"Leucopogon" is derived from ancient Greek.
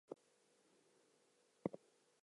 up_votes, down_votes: 0, 2